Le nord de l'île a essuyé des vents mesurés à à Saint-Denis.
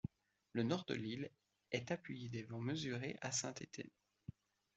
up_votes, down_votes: 0, 2